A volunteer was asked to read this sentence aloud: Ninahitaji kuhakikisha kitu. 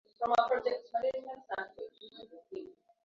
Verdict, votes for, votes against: rejected, 0, 2